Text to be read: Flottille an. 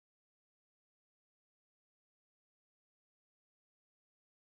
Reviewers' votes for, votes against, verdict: 0, 2, rejected